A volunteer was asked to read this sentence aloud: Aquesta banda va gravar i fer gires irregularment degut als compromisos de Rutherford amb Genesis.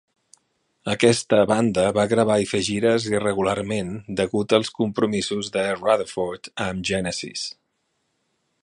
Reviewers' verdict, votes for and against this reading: rejected, 1, 2